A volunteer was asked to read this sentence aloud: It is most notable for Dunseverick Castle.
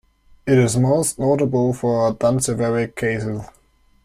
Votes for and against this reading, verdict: 1, 2, rejected